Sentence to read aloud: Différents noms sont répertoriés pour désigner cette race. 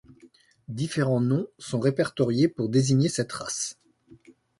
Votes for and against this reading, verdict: 2, 0, accepted